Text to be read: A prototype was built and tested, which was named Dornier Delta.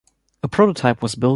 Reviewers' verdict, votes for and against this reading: rejected, 1, 2